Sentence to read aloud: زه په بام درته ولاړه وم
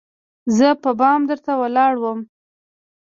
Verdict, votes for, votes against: accepted, 2, 0